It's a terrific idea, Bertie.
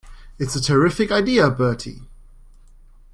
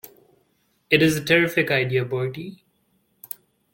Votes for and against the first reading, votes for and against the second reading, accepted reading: 2, 0, 1, 2, first